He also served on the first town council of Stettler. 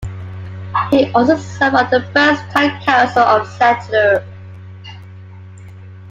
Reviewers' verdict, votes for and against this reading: rejected, 0, 2